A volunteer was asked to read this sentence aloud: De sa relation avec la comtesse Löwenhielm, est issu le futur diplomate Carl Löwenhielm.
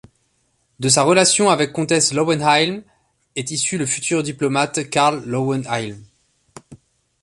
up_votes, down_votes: 1, 2